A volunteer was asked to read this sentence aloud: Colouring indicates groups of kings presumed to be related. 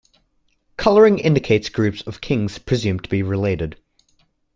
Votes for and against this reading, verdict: 2, 0, accepted